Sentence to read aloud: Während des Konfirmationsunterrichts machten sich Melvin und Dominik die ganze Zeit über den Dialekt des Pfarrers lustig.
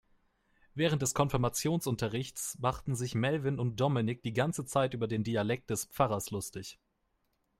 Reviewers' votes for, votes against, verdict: 2, 0, accepted